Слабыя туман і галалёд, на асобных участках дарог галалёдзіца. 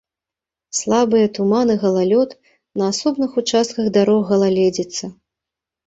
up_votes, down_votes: 1, 2